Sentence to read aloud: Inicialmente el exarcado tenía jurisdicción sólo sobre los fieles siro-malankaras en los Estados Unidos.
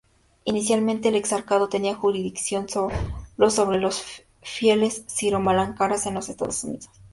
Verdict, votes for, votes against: rejected, 2, 2